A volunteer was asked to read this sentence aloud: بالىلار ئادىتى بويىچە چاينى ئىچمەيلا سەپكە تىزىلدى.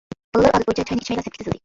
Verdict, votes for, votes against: rejected, 0, 2